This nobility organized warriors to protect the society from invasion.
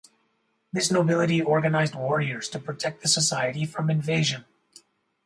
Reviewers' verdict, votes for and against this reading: accepted, 4, 0